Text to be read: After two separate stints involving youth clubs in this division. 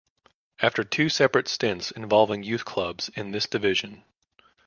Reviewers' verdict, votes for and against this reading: accepted, 2, 0